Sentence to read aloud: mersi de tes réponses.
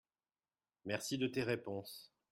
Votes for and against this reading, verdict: 2, 0, accepted